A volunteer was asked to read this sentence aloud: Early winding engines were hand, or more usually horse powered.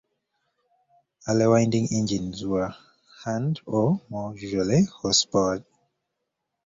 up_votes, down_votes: 2, 0